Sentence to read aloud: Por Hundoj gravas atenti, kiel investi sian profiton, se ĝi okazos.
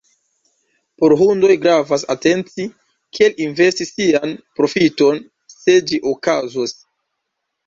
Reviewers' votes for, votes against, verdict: 2, 1, accepted